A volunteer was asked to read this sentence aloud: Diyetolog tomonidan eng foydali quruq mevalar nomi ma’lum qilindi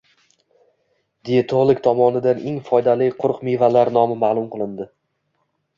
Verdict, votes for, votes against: accepted, 2, 0